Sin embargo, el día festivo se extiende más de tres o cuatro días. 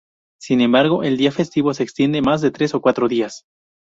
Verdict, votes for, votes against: accepted, 2, 0